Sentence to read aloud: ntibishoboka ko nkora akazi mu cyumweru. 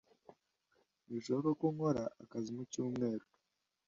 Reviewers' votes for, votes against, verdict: 2, 0, accepted